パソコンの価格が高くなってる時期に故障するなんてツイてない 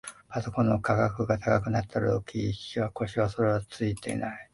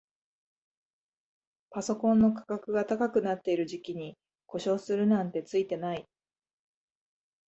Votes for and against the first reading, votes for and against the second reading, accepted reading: 0, 2, 2, 0, second